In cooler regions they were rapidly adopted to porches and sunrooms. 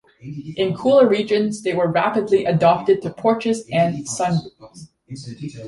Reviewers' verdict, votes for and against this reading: rejected, 0, 2